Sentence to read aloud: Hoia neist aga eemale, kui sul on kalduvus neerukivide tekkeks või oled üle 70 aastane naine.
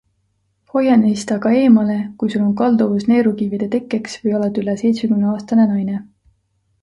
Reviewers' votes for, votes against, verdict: 0, 2, rejected